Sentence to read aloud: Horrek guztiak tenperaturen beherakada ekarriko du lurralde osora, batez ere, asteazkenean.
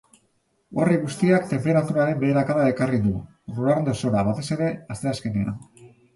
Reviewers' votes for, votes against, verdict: 0, 2, rejected